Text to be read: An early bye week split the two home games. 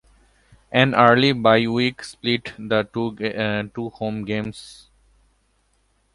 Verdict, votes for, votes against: rejected, 1, 2